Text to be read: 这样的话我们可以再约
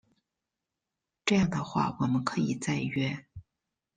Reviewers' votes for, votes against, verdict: 3, 0, accepted